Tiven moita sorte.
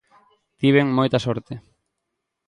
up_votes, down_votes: 2, 0